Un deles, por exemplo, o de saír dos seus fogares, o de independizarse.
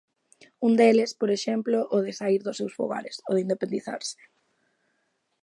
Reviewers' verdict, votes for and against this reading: accepted, 2, 0